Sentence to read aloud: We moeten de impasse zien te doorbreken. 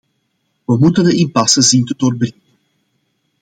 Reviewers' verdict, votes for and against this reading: rejected, 0, 2